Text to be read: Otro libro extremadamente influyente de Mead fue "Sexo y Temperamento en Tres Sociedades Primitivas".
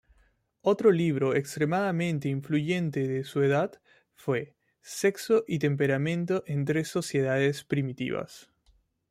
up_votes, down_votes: 0, 2